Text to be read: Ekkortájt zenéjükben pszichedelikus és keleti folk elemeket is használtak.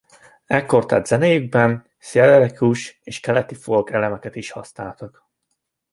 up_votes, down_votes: 1, 2